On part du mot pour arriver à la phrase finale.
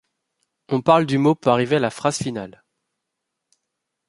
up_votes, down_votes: 2, 3